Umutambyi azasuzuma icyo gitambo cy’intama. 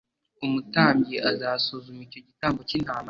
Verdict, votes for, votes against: accepted, 2, 0